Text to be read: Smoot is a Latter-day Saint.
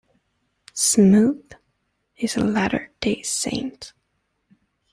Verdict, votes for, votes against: accepted, 2, 0